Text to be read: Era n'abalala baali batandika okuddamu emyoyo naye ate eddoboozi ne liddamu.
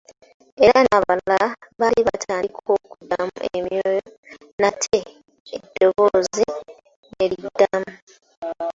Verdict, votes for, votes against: rejected, 0, 2